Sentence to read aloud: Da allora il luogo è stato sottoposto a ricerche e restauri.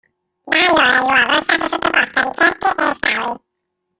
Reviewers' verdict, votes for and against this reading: rejected, 0, 2